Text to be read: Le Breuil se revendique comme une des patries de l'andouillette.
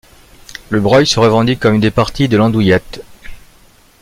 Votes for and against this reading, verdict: 2, 1, accepted